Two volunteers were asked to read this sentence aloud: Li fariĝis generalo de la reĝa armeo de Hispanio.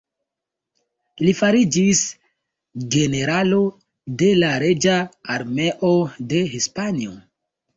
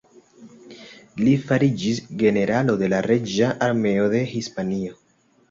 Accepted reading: second